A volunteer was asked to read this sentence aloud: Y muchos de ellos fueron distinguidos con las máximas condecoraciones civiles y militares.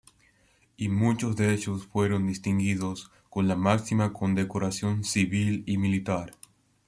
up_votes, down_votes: 0, 2